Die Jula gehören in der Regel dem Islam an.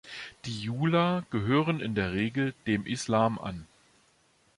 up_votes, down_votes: 2, 0